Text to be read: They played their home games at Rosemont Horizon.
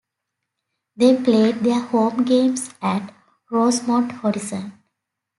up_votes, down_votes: 2, 0